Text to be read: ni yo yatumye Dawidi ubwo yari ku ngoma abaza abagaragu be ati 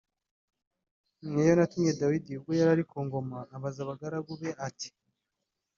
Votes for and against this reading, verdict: 1, 2, rejected